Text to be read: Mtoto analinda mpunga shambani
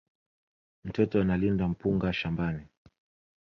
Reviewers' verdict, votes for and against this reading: accepted, 2, 1